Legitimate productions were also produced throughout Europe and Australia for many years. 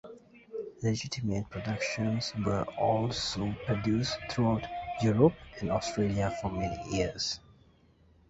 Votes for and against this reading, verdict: 1, 2, rejected